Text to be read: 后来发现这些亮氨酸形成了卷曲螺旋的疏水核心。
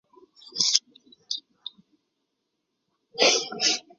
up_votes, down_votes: 0, 4